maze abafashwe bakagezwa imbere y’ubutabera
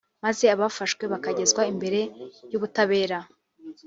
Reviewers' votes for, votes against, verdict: 1, 2, rejected